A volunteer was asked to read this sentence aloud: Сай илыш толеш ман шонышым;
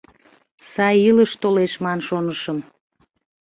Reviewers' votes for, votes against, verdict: 2, 0, accepted